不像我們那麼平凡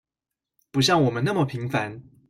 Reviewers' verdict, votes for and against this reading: accepted, 2, 0